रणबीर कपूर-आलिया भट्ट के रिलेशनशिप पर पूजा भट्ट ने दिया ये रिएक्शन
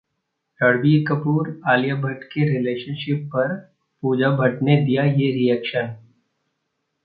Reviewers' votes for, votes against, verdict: 2, 0, accepted